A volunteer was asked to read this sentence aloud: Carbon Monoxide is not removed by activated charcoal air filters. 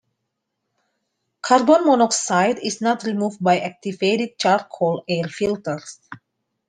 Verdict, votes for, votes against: accepted, 2, 0